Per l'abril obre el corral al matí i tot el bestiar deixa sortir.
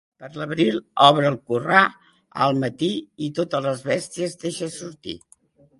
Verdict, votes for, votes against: rejected, 1, 2